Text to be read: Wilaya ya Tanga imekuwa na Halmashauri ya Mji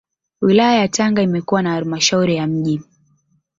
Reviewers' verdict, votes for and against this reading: accepted, 2, 0